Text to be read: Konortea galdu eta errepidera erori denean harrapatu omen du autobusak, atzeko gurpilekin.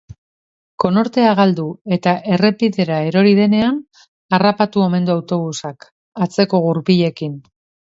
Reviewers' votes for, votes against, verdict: 2, 0, accepted